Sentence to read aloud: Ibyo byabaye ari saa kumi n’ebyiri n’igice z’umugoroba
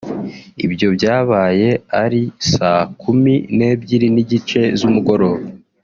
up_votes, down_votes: 2, 0